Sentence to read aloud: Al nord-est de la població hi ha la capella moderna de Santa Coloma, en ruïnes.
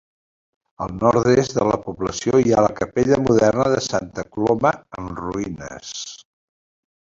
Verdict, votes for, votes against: rejected, 1, 2